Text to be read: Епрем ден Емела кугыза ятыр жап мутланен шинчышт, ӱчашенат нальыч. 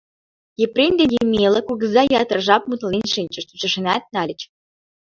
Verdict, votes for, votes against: rejected, 2, 3